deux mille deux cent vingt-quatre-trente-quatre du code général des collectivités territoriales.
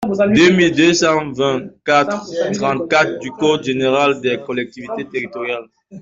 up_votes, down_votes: 1, 2